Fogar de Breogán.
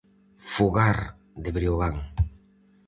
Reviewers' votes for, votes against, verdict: 4, 0, accepted